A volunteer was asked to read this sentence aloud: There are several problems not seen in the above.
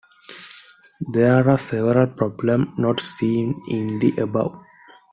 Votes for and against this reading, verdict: 0, 2, rejected